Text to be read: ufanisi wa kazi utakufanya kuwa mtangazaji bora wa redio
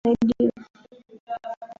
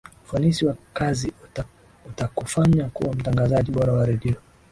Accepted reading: second